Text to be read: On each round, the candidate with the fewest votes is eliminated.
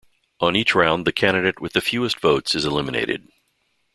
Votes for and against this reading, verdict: 2, 0, accepted